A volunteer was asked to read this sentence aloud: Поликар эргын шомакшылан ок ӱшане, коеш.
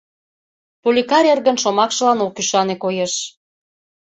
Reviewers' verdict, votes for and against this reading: accepted, 2, 0